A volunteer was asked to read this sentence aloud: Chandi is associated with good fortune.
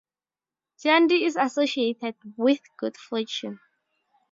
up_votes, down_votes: 0, 2